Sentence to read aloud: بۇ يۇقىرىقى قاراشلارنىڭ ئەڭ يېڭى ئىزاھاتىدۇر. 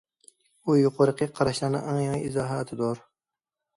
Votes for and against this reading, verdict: 2, 0, accepted